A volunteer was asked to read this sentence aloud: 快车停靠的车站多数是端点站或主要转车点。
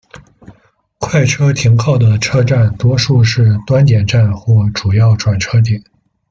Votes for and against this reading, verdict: 2, 0, accepted